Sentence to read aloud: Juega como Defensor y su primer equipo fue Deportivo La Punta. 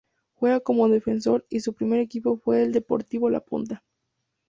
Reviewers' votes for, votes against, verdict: 2, 0, accepted